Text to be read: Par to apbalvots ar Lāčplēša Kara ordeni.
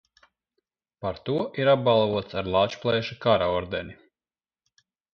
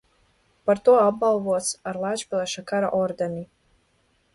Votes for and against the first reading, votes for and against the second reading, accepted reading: 0, 2, 2, 0, second